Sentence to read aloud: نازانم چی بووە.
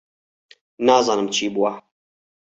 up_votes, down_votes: 4, 0